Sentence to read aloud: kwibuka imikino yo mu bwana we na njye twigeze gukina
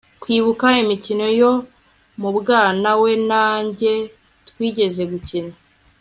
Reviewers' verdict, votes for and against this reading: accepted, 2, 0